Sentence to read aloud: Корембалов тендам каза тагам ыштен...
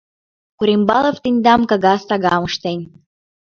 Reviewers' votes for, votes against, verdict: 3, 4, rejected